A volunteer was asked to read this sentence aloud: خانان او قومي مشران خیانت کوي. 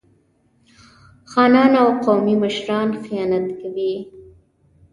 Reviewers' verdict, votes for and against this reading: rejected, 1, 2